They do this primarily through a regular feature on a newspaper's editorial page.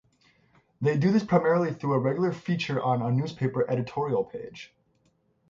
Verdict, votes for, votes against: rejected, 3, 3